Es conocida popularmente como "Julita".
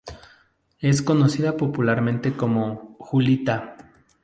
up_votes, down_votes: 2, 0